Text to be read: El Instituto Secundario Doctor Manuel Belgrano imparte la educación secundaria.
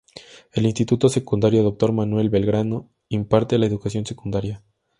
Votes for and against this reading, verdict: 2, 0, accepted